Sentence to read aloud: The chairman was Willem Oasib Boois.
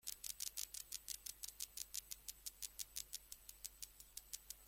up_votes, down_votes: 0, 4